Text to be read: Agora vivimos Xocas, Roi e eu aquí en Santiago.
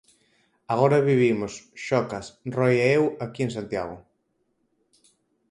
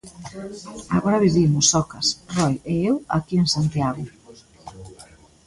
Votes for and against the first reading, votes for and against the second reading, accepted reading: 4, 0, 1, 2, first